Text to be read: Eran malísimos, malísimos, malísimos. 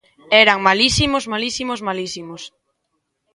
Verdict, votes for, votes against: accepted, 2, 0